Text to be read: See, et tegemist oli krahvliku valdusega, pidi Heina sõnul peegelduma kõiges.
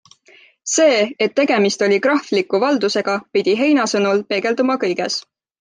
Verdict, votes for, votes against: accepted, 2, 0